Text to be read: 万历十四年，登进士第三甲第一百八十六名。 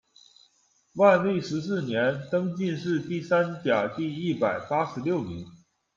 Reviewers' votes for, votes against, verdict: 2, 0, accepted